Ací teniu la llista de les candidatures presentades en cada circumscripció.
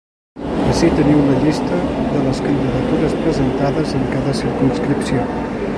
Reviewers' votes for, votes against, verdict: 0, 2, rejected